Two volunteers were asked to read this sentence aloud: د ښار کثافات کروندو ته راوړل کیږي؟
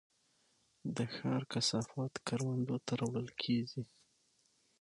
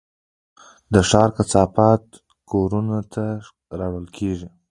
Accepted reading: first